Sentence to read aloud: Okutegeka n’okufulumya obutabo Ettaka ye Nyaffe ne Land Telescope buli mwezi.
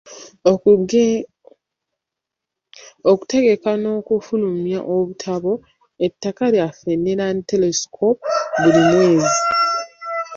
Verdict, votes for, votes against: rejected, 1, 2